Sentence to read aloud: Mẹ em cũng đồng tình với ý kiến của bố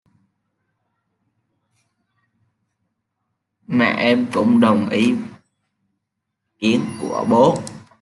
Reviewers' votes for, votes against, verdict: 0, 2, rejected